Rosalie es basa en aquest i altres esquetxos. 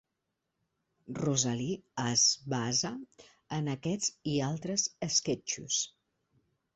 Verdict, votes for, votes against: rejected, 0, 2